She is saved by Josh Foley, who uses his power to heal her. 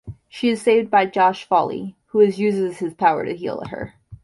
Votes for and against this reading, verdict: 1, 2, rejected